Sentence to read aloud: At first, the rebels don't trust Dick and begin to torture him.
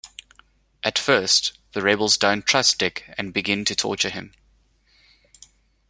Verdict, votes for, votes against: rejected, 1, 2